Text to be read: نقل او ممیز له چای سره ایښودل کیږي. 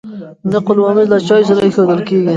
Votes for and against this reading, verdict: 1, 2, rejected